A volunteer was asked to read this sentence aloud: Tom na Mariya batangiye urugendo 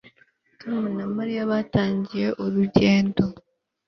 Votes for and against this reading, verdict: 2, 0, accepted